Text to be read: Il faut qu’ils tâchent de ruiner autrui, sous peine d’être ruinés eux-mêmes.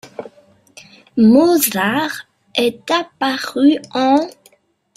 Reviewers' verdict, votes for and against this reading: rejected, 0, 2